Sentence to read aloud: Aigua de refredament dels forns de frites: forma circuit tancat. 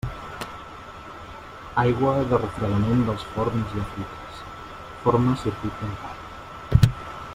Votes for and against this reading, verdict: 0, 2, rejected